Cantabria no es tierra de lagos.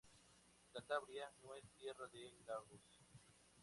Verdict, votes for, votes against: accepted, 2, 0